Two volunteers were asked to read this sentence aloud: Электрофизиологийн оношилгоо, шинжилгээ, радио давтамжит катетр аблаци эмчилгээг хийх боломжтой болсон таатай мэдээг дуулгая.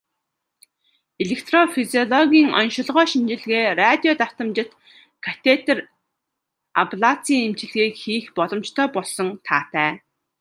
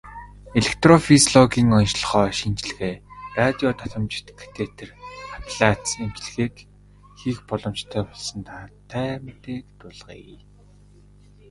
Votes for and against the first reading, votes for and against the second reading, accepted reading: 0, 2, 2, 0, second